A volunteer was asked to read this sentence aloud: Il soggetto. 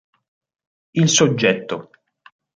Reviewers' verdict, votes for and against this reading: accepted, 3, 0